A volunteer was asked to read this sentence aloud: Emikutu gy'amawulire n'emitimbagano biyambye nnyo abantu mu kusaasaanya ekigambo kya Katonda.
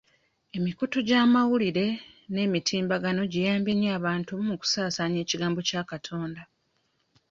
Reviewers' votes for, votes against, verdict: 0, 2, rejected